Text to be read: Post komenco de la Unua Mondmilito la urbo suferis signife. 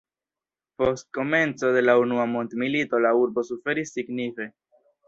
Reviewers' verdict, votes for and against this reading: rejected, 0, 2